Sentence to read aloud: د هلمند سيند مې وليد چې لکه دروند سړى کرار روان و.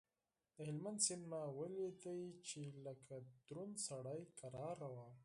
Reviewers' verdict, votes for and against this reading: rejected, 0, 4